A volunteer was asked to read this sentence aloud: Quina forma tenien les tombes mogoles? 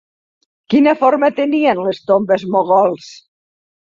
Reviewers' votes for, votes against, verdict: 1, 2, rejected